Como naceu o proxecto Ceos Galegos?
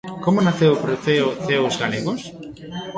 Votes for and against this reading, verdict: 1, 2, rejected